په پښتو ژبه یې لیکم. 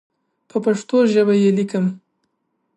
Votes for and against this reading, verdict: 2, 1, accepted